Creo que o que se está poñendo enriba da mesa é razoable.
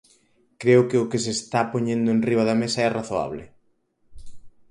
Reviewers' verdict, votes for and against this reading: accepted, 4, 0